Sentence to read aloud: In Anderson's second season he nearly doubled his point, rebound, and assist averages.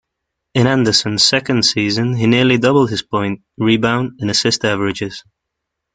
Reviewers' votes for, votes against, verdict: 2, 0, accepted